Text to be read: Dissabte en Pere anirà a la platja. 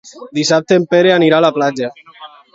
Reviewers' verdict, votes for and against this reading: accepted, 2, 0